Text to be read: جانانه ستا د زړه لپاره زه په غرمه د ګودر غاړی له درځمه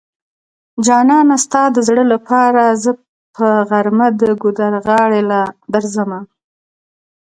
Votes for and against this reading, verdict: 2, 0, accepted